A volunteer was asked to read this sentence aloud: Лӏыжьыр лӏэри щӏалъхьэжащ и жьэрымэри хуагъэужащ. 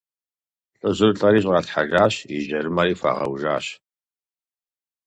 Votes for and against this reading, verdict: 4, 0, accepted